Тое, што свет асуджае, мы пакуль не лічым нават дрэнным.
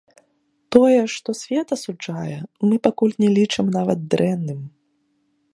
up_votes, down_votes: 2, 0